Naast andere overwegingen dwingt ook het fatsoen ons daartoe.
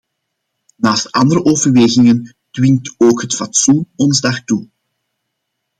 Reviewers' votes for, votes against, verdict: 2, 0, accepted